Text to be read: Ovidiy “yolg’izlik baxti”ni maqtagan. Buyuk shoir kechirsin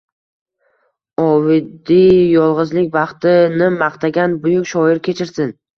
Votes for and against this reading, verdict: 2, 0, accepted